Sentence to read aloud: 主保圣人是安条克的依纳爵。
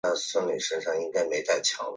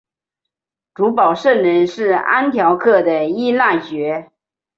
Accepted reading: second